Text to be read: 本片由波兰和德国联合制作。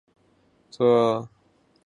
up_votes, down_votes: 0, 2